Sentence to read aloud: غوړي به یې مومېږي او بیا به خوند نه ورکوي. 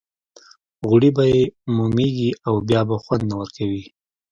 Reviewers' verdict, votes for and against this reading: accepted, 2, 0